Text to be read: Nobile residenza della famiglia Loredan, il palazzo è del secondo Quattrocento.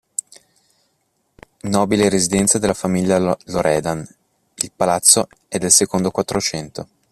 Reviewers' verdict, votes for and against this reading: rejected, 1, 2